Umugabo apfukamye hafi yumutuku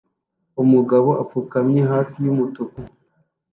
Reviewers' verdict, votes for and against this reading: accepted, 2, 0